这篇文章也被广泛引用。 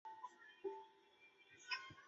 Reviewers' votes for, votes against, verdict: 0, 2, rejected